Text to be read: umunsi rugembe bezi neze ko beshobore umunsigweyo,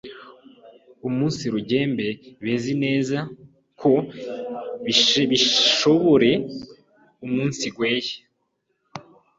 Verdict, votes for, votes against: rejected, 0, 2